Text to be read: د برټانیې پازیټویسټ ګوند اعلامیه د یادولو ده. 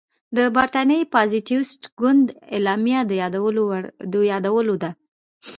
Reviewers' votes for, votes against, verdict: 2, 0, accepted